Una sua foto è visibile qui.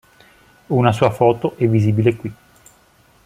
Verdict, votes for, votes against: accepted, 2, 0